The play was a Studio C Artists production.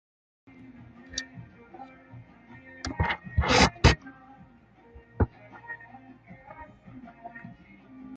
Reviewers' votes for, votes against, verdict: 0, 2, rejected